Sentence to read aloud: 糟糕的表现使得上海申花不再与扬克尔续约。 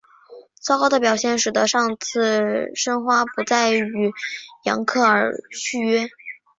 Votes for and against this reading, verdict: 3, 2, accepted